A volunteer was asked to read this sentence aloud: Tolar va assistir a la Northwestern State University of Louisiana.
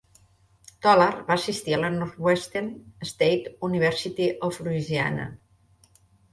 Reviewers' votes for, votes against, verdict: 1, 2, rejected